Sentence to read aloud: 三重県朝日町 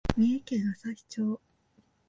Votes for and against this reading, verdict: 2, 0, accepted